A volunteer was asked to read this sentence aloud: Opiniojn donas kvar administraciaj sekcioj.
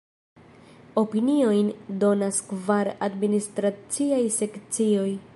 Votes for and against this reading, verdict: 2, 0, accepted